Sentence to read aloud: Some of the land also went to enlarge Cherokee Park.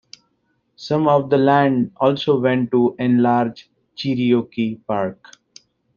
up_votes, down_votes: 2, 1